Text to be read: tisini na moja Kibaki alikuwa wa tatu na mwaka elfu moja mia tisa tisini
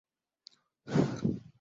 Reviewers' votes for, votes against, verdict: 0, 5, rejected